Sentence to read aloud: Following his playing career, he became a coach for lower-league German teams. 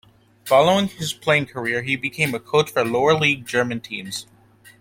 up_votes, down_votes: 2, 0